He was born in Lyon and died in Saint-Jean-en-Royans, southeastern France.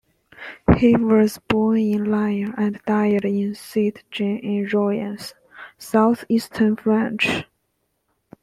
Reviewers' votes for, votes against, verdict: 0, 2, rejected